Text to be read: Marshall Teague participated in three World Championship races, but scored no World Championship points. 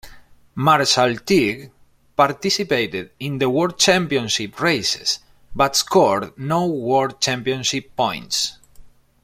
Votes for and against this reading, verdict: 0, 2, rejected